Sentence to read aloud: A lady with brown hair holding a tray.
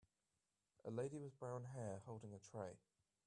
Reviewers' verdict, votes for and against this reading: accepted, 2, 0